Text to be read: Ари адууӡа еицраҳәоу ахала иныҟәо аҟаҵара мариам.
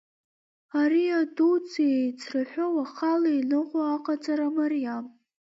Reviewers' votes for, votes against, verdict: 1, 2, rejected